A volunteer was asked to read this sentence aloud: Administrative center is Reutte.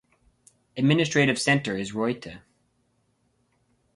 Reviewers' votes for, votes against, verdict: 2, 2, rejected